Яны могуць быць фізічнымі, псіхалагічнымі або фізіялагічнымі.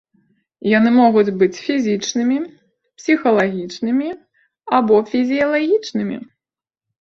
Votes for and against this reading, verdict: 2, 0, accepted